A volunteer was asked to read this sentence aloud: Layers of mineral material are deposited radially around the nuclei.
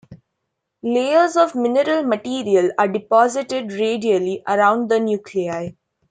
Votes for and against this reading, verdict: 2, 0, accepted